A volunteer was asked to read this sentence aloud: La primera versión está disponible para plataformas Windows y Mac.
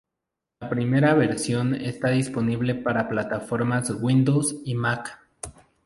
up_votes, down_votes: 4, 0